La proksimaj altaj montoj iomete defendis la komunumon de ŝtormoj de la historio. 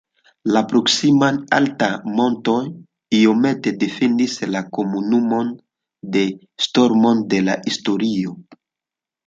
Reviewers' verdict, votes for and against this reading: rejected, 0, 2